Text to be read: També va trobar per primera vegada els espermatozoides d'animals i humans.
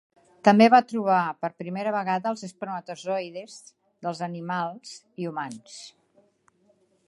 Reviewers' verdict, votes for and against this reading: rejected, 0, 3